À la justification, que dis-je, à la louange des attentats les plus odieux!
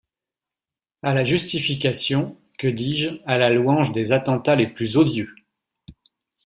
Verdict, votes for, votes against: accepted, 2, 0